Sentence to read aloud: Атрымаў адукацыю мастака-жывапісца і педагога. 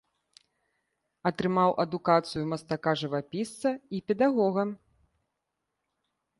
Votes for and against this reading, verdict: 2, 0, accepted